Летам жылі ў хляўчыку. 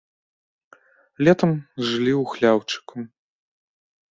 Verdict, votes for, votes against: rejected, 1, 2